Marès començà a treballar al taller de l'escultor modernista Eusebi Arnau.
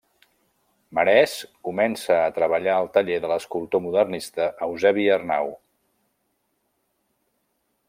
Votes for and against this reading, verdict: 0, 2, rejected